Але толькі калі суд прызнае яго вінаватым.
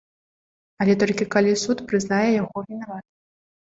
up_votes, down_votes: 1, 2